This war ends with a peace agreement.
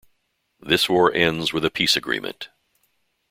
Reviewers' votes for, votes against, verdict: 2, 0, accepted